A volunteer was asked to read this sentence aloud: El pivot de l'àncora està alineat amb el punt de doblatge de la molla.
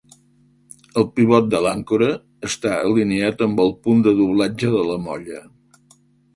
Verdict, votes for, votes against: accepted, 2, 0